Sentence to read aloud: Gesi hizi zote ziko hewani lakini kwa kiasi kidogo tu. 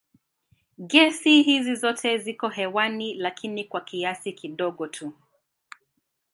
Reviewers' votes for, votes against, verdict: 5, 0, accepted